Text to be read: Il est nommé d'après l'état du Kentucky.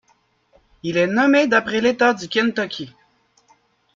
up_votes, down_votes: 0, 2